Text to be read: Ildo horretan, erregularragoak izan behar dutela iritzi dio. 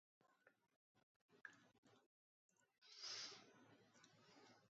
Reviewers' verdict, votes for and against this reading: rejected, 0, 2